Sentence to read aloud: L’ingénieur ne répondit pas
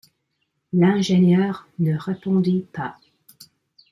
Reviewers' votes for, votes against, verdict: 1, 2, rejected